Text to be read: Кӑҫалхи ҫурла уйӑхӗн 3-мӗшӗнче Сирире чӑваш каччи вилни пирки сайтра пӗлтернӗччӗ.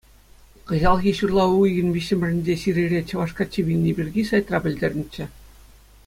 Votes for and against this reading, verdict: 0, 2, rejected